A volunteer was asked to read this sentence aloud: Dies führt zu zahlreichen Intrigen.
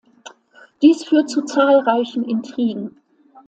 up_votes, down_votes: 2, 0